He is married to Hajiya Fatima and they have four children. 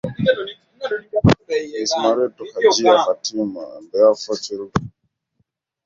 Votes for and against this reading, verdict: 0, 2, rejected